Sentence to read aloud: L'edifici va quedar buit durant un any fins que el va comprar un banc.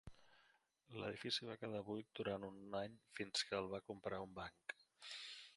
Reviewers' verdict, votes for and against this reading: rejected, 0, 2